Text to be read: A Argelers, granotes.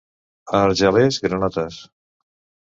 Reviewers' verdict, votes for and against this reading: accepted, 2, 0